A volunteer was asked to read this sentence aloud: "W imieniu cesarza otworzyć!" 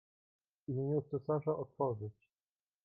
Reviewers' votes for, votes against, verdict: 1, 2, rejected